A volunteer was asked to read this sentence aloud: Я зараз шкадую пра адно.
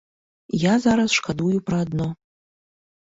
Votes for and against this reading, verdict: 2, 0, accepted